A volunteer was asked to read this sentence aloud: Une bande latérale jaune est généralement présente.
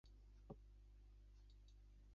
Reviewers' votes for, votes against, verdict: 0, 2, rejected